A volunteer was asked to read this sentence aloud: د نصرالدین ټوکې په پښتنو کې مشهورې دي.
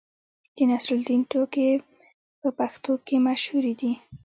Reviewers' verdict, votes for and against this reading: rejected, 1, 2